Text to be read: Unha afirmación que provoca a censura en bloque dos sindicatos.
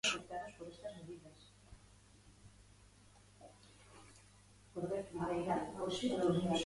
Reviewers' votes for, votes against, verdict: 0, 2, rejected